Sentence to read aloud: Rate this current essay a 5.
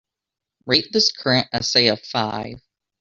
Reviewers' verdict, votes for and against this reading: rejected, 0, 2